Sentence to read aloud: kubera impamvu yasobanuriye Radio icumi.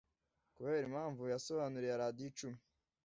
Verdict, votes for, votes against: accepted, 2, 0